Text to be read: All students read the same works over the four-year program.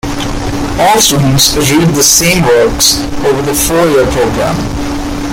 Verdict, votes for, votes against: accepted, 2, 1